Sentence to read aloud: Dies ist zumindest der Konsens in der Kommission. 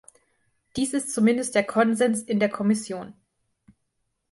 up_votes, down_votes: 3, 0